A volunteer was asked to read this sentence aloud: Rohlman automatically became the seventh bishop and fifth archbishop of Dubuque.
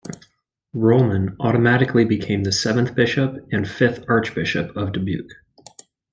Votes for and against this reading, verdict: 3, 0, accepted